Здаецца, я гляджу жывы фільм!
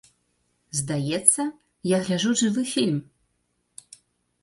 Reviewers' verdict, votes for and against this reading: accepted, 2, 0